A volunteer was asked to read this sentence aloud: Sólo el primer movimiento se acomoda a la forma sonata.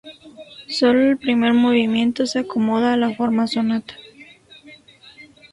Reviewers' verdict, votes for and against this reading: accepted, 2, 0